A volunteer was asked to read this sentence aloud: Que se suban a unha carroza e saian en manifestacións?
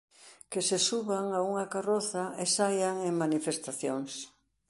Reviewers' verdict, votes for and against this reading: rejected, 1, 2